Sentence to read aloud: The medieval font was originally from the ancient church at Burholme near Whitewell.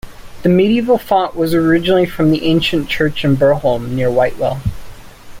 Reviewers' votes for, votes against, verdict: 2, 0, accepted